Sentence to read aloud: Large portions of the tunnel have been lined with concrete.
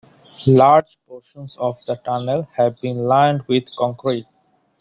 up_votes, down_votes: 2, 0